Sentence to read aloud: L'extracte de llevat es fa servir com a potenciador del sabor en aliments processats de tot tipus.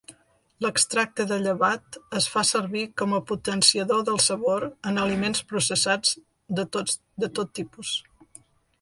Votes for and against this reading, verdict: 1, 2, rejected